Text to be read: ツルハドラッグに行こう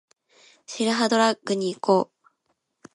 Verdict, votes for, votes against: accepted, 3, 1